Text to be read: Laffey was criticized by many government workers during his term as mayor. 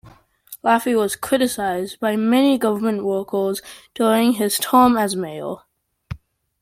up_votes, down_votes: 2, 0